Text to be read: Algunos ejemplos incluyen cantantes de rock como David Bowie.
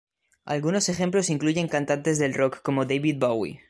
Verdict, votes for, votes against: rejected, 1, 2